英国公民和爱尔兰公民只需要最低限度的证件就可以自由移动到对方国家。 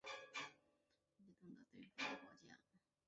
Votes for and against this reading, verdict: 0, 3, rejected